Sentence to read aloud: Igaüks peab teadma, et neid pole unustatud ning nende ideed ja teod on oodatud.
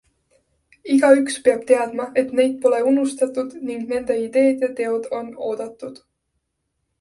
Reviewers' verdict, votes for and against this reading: accepted, 2, 0